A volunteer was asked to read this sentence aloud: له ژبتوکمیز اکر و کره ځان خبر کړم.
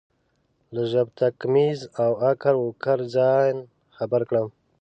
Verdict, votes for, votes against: rejected, 1, 2